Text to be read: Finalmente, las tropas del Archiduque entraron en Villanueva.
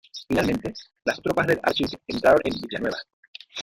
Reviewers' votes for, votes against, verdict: 0, 2, rejected